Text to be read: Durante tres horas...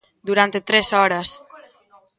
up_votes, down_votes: 1, 2